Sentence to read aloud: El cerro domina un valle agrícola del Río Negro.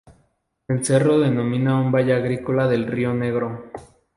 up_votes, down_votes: 2, 2